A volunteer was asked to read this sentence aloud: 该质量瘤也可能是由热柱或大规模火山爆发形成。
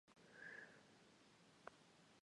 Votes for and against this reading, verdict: 0, 5, rejected